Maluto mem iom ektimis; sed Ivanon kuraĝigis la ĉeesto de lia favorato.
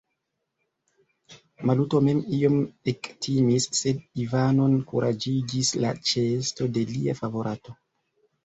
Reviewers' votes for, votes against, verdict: 2, 1, accepted